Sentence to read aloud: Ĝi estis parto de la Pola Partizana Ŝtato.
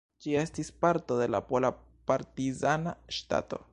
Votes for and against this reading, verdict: 1, 2, rejected